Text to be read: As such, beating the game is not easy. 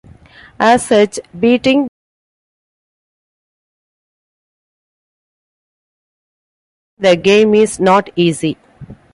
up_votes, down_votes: 0, 2